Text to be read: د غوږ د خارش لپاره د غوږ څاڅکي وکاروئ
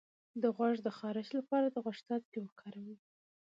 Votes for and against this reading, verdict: 0, 2, rejected